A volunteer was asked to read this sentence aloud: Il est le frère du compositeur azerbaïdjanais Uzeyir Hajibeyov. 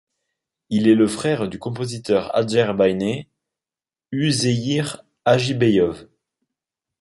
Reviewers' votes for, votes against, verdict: 1, 2, rejected